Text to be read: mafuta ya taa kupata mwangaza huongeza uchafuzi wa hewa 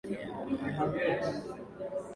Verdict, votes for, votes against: rejected, 0, 2